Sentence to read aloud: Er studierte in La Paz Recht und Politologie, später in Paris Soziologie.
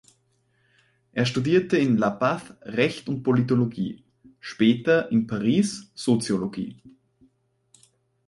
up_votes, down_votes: 2, 4